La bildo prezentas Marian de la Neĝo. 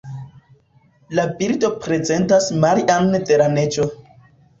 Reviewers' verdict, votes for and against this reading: rejected, 0, 2